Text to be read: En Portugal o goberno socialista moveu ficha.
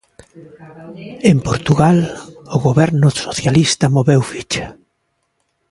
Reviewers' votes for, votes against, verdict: 2, 0, accepted